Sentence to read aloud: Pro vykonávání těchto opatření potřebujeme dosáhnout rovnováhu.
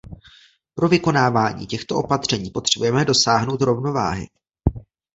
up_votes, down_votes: 1, 2